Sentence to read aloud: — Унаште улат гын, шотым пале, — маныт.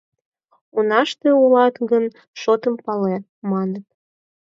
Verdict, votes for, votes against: accepted, 4, 2